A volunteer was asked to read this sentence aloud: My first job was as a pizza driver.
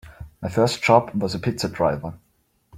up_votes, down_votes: 2, 0